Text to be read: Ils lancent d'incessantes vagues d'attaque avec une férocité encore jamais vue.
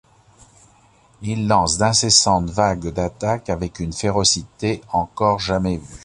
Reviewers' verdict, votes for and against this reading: accepted, 2, 1